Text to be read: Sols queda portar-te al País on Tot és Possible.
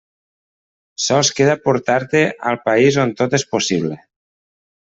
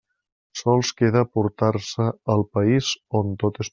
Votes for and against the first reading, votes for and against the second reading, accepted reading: 3, 0, 0, 2, first